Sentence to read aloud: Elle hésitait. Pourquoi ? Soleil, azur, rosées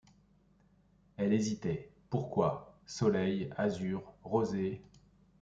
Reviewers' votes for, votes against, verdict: 2, 0, accepted